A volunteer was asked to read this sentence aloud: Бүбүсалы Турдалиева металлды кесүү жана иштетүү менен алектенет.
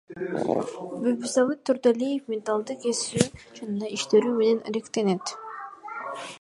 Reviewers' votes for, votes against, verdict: 0, 2, rejected